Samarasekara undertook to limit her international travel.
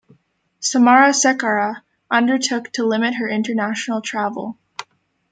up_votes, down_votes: 0, 2